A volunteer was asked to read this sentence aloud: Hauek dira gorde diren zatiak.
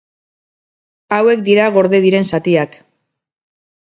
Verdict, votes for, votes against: rejected, 2, 2